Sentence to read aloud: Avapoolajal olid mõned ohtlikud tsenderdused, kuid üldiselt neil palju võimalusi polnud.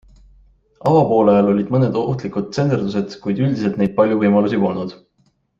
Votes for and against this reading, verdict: 2, 0, accepted